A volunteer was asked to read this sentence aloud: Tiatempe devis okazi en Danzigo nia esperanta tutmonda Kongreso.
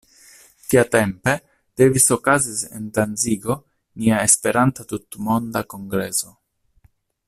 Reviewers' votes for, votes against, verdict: 1, 2, rejected